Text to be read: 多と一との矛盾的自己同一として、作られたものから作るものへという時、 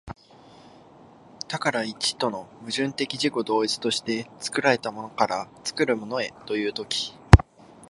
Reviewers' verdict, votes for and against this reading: rejected, 1, 2